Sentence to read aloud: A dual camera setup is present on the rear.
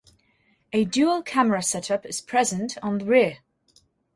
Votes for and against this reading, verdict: 4, 0, accepted